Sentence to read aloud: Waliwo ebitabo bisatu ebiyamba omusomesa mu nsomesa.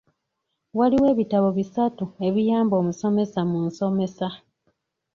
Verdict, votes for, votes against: accepted, 2, 0